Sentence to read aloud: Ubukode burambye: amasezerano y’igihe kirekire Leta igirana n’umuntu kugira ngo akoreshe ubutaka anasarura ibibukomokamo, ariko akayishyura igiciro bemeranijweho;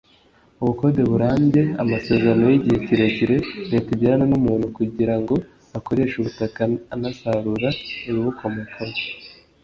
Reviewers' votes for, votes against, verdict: 0, 2, rejected